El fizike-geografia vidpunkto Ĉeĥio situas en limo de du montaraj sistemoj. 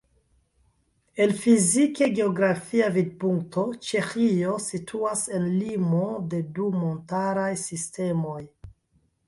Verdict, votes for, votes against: accepted, 2, 0